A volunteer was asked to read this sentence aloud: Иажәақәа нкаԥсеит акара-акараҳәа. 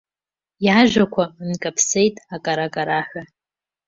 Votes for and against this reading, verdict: 2, 0, accepted